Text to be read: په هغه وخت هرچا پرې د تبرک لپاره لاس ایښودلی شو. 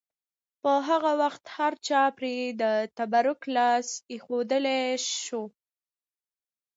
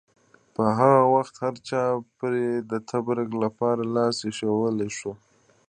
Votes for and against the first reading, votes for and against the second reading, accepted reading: 2, 0, 1, 2, first